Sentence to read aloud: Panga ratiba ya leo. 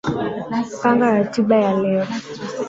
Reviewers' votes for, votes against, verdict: 0, 2, rejected